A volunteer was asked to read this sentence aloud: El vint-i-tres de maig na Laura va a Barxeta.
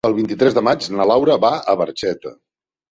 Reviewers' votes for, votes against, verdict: 3, 0, accepted